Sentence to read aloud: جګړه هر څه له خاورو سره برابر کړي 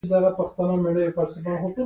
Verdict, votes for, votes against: rejected, 0, 2